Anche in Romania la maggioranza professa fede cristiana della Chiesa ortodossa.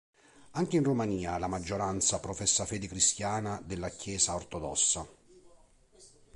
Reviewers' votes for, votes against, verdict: 3, 0, accepted